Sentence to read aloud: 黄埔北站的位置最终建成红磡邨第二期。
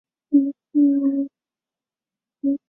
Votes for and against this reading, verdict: 0, 2, rejected